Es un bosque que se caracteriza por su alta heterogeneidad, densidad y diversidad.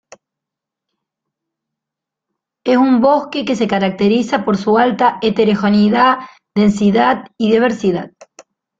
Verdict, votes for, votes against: accepted, 3, 1